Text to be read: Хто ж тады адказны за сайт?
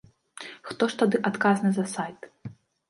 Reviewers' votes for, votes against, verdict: 2, 0, accepted